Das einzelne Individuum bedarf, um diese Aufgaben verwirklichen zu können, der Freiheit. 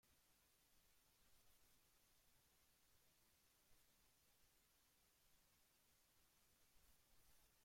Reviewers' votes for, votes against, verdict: 0, 2, rejected